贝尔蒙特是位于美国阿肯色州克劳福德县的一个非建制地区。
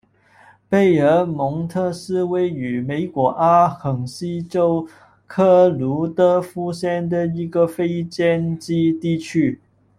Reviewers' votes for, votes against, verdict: 1, 2, rejected